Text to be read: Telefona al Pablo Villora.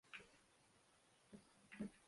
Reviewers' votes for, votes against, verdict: 0, 3, rejected